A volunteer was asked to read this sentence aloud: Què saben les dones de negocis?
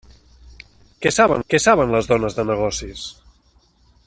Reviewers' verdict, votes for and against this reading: rejected, 0, 2